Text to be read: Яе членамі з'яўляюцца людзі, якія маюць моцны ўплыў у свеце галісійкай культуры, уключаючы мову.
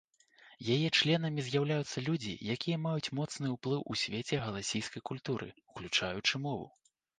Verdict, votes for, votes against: rejected, 1, 2